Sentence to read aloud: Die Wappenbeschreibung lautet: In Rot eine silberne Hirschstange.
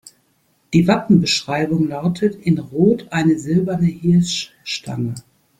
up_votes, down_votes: 2, 0